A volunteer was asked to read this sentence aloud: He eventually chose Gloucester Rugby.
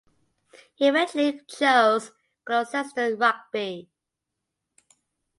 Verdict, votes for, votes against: rejected, 0, 2